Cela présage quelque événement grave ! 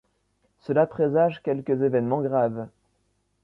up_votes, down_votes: 1, 2